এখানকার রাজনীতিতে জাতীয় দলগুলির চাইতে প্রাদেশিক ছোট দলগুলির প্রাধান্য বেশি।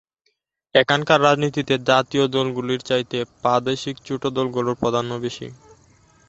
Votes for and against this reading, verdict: 0, 2, rejected